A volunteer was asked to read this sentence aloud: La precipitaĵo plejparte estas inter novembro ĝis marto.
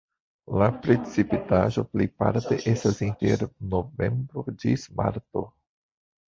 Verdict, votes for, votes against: rejected, 1, 2